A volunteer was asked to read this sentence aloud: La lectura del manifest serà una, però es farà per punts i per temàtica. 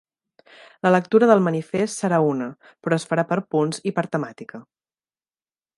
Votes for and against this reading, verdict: 3, 0, accepted